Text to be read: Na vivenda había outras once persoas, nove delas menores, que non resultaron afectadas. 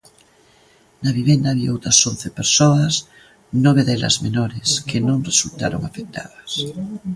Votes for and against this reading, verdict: 1, 2, rejected